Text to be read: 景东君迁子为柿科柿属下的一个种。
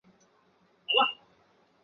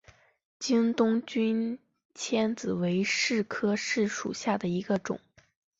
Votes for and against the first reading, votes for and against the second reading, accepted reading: 1, 8, 2, 0, second